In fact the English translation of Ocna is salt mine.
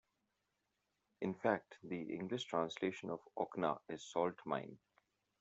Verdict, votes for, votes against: accepted, 2, 0